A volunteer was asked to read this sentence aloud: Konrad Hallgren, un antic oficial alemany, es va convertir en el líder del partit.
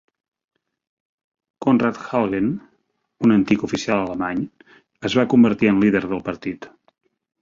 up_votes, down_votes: 1, 2